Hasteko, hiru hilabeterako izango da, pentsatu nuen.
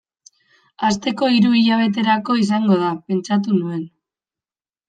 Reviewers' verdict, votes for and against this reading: accepted, 2, 0